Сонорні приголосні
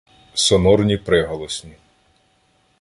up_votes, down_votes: 2, 0